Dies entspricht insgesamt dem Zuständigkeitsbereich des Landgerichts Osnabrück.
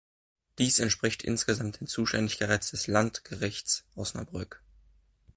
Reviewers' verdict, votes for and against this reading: rejected, 0, 2